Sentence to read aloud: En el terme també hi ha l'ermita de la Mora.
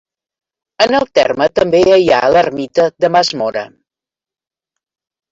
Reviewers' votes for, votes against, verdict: 1, 2, rejected